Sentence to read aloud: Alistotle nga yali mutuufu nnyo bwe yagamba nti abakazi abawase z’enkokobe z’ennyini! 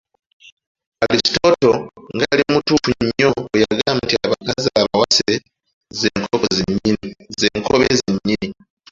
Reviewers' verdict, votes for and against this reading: rejected, 1, 2